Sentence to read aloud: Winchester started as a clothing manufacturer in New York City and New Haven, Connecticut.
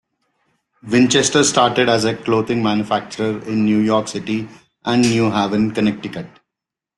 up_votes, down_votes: 2, 0